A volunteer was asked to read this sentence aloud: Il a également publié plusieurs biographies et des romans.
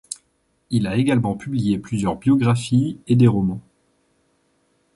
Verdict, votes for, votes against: accepted, 2, 0